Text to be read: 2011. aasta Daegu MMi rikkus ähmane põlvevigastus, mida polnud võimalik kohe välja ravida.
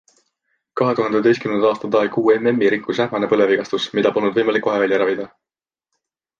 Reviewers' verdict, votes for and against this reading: rejected, 0, 2